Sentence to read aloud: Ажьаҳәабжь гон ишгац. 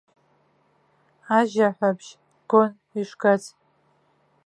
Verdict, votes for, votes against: accepted, 2, 1